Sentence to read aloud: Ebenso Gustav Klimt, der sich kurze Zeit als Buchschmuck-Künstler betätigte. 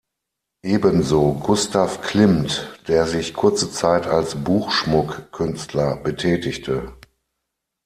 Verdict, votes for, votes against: accepted, 6, 0